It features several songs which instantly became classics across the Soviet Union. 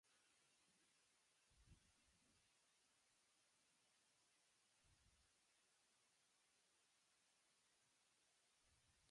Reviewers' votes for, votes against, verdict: 0, 2, rejected